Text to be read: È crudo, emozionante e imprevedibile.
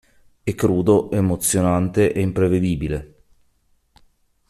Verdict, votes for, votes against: accepted, 2, 0